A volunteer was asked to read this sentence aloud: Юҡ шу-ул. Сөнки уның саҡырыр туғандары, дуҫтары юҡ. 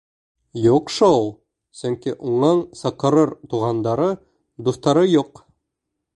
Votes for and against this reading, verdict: 2, 0, accepted